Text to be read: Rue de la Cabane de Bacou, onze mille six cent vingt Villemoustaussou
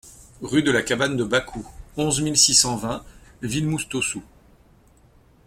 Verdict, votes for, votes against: accepted, 2, 0